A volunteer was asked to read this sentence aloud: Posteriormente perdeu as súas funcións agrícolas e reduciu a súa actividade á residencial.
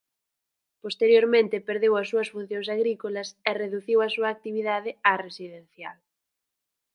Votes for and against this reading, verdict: 4, 0, accepted